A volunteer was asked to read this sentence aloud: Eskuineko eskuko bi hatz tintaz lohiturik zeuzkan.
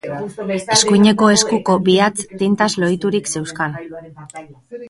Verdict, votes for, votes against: accepted, 3, 0